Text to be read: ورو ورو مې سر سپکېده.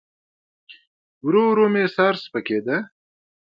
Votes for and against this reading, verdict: 2, 0, accepted